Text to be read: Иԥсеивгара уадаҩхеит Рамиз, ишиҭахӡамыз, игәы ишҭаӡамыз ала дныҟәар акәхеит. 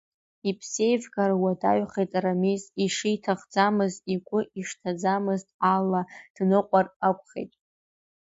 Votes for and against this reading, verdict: 0, 2, rejected